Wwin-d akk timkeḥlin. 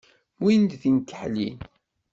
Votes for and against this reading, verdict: 0, 2, rejected